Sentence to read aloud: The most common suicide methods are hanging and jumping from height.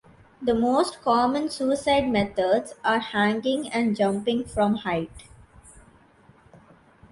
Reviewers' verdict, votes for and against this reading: accepted, 2, 0